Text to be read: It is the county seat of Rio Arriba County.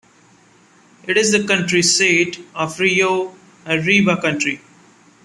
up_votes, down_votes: 1, 2